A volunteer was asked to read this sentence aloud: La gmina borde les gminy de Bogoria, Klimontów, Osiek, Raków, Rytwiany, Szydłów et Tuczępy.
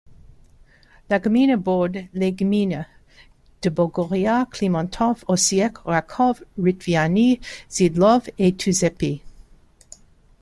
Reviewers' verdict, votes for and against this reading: accepted, 2, 0